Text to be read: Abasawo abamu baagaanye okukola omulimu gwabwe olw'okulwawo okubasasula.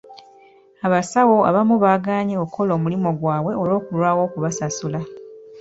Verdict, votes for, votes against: accepted, 2, 1